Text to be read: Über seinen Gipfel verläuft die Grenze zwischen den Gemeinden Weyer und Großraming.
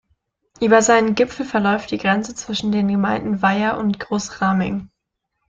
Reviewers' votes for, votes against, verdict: 2, 0, accepted